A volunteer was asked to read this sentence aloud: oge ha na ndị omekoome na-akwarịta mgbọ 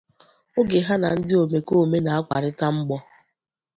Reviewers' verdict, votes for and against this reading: accepted, 2, 0